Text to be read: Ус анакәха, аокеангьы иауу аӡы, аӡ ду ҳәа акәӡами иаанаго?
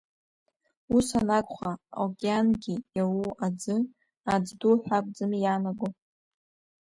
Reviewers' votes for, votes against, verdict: 0, 2, rejected